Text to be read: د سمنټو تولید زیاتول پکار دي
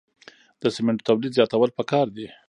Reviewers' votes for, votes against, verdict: 1, 2, rejected